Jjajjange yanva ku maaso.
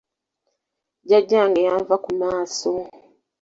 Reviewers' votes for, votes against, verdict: 2, 0, accepted